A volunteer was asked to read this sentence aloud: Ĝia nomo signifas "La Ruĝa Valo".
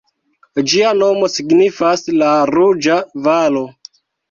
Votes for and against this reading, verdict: 2, 1, accepted